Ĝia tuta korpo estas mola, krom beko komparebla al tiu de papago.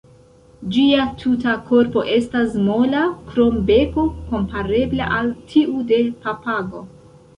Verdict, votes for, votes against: rejected, 1, 2